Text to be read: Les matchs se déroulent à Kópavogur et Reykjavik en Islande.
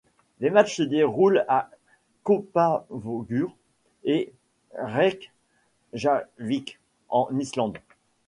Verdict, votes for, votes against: rejected, 0, 2